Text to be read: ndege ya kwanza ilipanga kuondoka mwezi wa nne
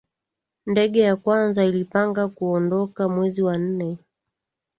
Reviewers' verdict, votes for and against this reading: accepted, 2, 0